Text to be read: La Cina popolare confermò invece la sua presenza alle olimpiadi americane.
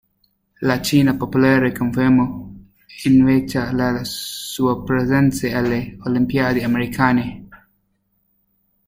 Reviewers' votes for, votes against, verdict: 0, 2, rejected